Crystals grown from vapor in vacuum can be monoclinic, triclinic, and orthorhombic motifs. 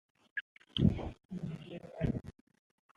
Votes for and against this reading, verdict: 1, 2, rejected